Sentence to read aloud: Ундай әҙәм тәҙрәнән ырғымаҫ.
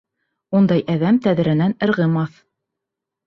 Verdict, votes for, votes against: accepted, 3, 0